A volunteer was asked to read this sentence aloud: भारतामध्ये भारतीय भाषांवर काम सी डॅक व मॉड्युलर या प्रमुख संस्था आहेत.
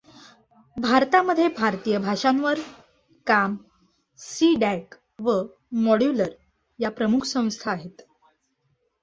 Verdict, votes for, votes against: accepted, 2, 1